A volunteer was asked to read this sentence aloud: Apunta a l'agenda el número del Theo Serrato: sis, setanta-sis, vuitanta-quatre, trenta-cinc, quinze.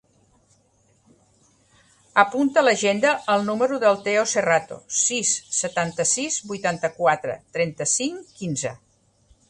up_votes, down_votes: 3, 0